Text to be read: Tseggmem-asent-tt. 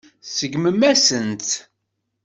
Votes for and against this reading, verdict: 0, 2, rejected